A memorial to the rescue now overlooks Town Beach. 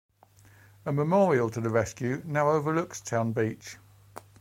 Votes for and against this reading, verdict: 2, 0, accepted